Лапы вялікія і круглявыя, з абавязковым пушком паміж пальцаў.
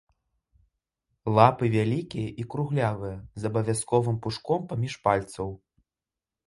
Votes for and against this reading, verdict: 2, 0, accepted